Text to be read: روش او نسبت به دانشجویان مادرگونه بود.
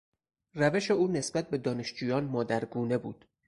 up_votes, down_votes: 6, 0